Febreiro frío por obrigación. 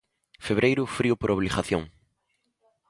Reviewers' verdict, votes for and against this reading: rejected, 1, 2